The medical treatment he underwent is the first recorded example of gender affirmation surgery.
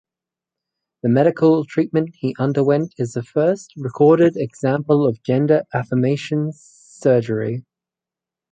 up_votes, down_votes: 4, 0